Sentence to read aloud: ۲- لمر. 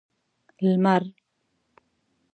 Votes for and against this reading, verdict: 0, 2, rejected